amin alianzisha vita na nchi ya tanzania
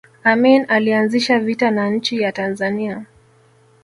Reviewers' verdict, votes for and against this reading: accepted, 2, 0